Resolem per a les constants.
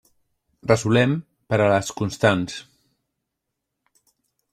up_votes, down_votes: 1, 2